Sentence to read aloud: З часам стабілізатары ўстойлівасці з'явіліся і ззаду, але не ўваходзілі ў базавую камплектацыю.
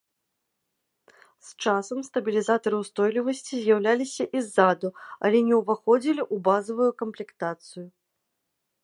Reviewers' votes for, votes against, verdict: 1, 2, rejected